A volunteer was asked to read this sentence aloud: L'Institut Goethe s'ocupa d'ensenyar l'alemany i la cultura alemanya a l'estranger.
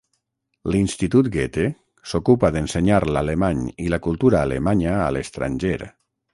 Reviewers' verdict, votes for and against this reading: rejected, 3, 3